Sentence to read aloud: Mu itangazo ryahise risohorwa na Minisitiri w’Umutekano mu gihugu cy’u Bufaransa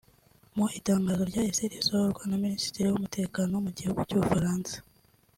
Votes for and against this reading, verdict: 4, 0, accepted